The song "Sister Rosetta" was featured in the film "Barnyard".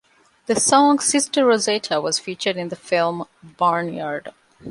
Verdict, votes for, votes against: accepted, 2, 0